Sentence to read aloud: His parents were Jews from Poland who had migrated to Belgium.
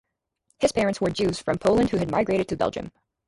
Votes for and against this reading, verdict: 0, 2, rejected